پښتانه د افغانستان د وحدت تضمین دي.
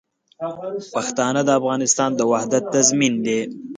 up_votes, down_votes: 2, 0